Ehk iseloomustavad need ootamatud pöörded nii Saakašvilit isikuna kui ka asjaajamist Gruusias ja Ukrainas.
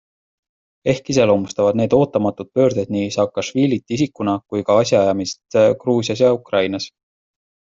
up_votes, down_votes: 2, 0